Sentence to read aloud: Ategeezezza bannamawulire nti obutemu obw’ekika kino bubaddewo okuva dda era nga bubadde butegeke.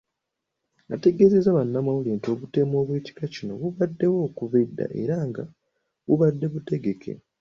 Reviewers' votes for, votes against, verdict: 2, 0, accepted